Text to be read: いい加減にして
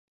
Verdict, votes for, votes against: rejected, 0, 2